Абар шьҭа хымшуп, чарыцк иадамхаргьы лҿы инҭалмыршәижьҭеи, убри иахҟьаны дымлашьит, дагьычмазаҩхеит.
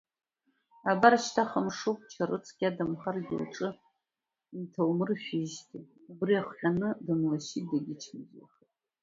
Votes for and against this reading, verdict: 0, 2, rejected